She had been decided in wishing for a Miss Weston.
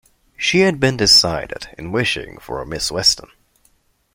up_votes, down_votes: 2, 0